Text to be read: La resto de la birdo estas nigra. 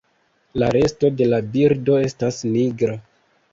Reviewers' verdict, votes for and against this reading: accepted, 2, 0